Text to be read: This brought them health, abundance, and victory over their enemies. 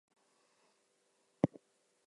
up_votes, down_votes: 0, 2